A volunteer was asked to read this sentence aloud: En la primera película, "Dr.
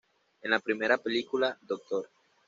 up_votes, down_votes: 2, 0